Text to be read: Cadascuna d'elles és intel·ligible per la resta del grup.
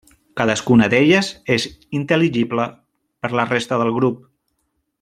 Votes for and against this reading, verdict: 0, 2, rejected